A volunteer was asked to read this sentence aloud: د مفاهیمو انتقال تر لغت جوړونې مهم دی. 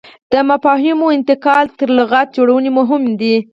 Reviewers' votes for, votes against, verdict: 4, 0, accepted